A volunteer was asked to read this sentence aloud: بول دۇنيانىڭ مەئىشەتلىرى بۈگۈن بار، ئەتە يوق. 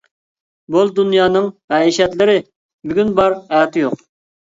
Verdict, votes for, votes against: accepted, 2, 0